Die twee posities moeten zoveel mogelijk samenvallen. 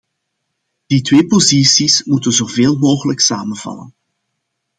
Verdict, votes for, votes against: accepted, 2, 0